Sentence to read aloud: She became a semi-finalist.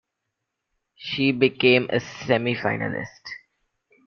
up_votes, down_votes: 2, 0